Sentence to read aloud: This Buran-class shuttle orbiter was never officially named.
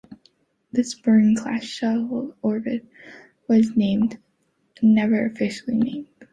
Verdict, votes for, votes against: rejected, 1, 2